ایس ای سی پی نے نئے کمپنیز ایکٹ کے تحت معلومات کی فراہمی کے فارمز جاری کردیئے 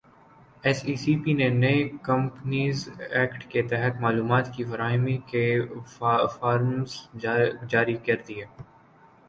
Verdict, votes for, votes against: rejected, 0, 2